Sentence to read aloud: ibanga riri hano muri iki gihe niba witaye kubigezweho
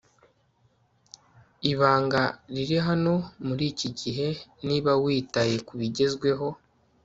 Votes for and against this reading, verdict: 2, 0, accepted